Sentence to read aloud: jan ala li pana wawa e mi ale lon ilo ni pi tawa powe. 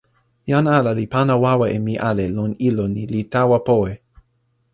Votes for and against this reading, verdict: 0, 2, rejected